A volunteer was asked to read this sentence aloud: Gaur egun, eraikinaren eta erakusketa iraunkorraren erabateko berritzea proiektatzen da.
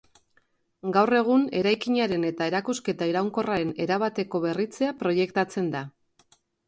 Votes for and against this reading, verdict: 2, 0, accepted